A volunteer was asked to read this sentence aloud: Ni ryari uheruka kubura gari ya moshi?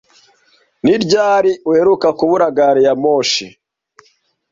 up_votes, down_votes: 1, 2